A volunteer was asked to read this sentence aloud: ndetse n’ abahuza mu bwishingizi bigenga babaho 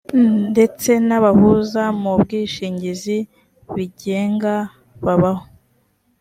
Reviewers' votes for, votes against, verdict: 3, 0, accepted